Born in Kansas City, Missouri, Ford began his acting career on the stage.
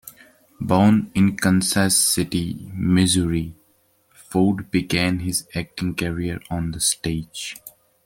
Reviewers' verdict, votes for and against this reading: accepted, 2, 0